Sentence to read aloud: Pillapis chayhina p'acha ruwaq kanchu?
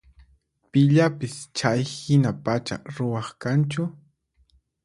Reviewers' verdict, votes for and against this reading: rejected, 2, 4